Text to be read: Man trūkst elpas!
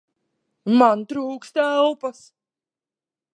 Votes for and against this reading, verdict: 2, 0, accepted